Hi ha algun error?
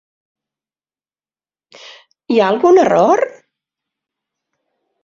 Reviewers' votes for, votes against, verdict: 2, 0, accepted